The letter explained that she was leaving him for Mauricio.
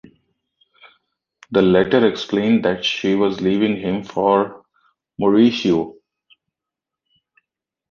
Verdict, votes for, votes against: accepted, 2, 0